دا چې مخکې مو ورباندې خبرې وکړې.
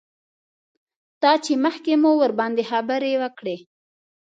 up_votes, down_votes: 2, 0